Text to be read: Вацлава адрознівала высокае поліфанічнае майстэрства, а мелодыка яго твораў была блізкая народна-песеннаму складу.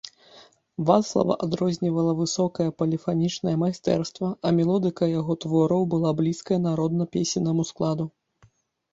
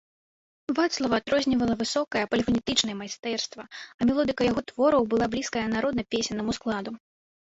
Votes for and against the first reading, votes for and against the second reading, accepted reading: 2, 1, 0, 2, first